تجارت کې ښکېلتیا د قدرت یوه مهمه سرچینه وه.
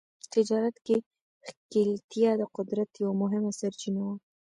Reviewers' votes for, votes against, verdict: 1, 2, rejected